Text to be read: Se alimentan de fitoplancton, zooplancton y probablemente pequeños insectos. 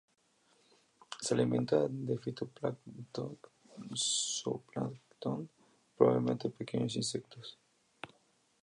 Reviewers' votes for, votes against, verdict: 2, 0, accepted